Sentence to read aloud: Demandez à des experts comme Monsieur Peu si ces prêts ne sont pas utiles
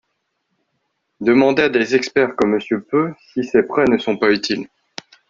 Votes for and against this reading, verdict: 0, 2, rejected